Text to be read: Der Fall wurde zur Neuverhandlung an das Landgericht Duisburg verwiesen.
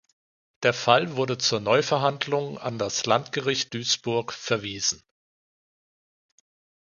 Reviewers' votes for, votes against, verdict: 2, 0, accepted